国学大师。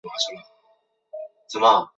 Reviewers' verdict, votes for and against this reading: rejected, 0, 2